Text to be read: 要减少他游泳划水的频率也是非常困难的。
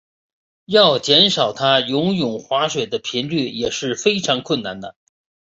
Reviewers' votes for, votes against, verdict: 3, 0, accepted